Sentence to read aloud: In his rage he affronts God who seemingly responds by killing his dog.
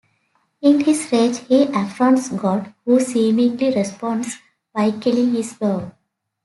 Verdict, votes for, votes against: accepted, 2, 0